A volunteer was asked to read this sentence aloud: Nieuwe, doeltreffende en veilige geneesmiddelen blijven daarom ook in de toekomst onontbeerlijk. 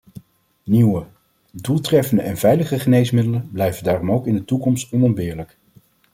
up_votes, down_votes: 2, 0